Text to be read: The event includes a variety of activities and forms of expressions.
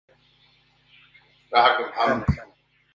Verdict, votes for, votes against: rejected, 0, 2